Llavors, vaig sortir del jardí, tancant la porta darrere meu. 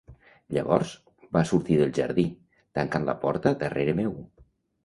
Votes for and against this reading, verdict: 1, 2, rejected